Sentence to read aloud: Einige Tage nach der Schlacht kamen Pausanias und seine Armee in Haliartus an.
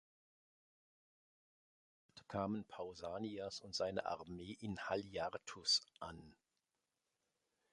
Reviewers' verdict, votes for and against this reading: rejected, 0, 3